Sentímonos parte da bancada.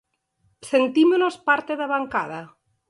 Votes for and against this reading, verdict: 8, 0, accepted